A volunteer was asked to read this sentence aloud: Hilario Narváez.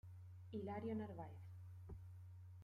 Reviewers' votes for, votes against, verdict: 1, 2, rejected